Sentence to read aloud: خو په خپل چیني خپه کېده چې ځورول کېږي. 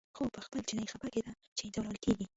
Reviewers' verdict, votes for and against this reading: rejected, 1, 2